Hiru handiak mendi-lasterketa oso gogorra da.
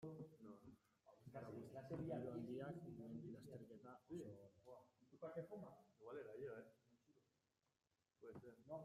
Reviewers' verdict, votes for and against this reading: rejected, 0, 2